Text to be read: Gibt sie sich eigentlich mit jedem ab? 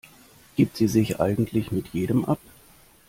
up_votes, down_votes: 2, 0